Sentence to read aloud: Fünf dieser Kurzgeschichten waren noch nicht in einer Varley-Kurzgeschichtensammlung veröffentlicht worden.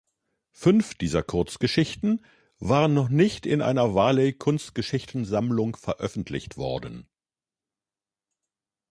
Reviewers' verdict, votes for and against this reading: rejected, 1, 2